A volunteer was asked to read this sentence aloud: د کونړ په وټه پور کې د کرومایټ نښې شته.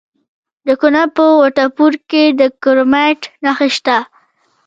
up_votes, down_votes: 1, 2